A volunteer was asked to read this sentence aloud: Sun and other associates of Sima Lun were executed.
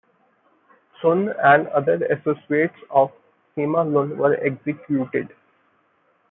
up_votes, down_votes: 2, 1